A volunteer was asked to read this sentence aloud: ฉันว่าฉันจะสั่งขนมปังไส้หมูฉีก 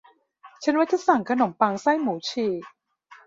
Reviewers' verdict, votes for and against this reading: rejected, 0, 2